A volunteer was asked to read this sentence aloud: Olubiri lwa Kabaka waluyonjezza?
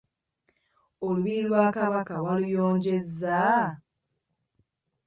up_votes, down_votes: 2, 0